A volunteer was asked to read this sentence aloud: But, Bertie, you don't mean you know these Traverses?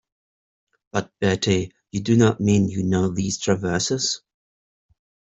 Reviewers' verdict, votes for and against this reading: rejected, 0, 2